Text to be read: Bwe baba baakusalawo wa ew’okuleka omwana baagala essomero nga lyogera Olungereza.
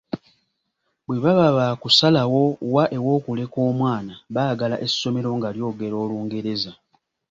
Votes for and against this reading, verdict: 2, 0, accepted